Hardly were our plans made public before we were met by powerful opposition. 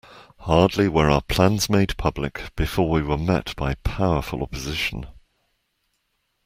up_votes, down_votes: 2, 0